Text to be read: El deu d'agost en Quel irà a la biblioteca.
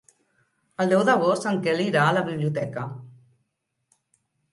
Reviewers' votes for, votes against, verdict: 2, 0, accepted